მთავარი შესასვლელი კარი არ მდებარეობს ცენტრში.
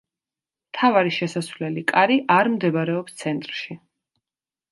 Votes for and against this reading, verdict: 2, 0, accepted